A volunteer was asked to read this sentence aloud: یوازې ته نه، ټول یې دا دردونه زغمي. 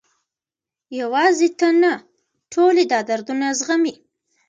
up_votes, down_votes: 0, 2